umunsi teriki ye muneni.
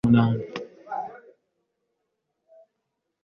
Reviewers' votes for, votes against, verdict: 0, 2, rejected